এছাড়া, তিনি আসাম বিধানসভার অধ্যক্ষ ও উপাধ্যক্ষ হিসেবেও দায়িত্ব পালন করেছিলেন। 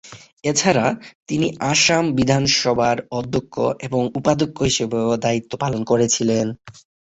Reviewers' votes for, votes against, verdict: 21, 27, rejected